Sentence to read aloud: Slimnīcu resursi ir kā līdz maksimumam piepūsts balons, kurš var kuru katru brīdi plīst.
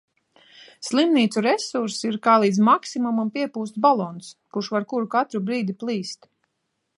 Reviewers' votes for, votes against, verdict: 2, 0, accepted